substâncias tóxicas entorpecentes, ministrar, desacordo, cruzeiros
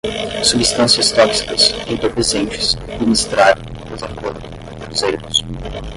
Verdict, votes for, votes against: rejected, 0, 5